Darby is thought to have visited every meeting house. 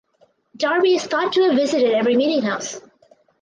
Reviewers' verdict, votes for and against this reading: accepted, 4, 0